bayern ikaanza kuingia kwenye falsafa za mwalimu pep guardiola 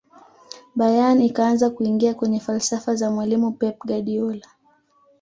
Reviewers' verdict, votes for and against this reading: accepted, 2, 0